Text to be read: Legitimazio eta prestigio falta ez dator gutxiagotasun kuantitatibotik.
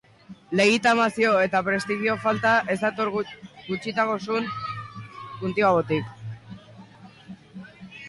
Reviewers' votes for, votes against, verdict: 0, 2, rejected